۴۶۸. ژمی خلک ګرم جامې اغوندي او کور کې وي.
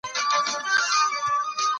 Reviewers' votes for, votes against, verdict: 0, 2, rejected